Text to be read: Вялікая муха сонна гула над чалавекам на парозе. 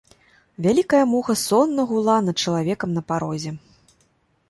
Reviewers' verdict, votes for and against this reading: accepted, 2, 0